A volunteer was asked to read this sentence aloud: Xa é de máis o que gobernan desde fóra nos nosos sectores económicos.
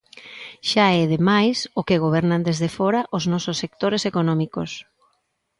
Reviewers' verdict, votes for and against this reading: rejected, 0, 2